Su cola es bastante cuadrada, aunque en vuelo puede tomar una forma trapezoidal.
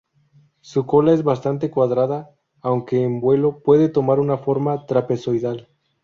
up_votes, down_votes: 2, 0